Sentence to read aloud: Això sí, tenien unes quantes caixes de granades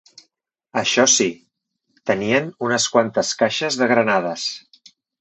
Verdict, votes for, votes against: accepted, 3, 0